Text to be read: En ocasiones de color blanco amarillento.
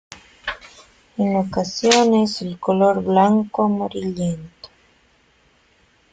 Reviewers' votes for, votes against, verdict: 0, 2, rejected